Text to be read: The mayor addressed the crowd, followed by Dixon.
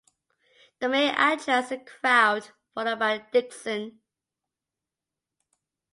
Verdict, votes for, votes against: accepted, 2, 1